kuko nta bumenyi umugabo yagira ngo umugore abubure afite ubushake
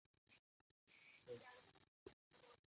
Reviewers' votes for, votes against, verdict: 0, 2, rejected